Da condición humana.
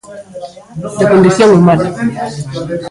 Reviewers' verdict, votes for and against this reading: rejected, 0, 3